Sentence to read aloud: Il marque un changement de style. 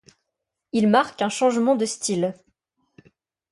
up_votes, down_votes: 2, 0